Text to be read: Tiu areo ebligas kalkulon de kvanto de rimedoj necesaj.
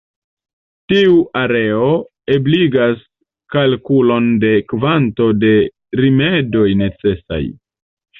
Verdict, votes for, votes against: accepted, 2, 1